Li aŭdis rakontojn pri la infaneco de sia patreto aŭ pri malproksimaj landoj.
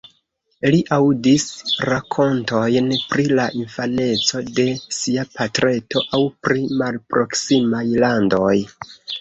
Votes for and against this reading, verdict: 1, 2, rejected